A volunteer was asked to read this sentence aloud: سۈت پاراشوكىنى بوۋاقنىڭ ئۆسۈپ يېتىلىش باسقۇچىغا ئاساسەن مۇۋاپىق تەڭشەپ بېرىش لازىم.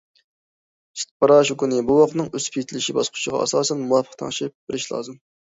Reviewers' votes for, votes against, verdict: 2, 0, accepted